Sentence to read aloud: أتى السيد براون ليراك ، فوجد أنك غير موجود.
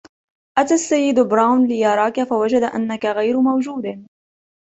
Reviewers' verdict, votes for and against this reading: rejected, 0, 2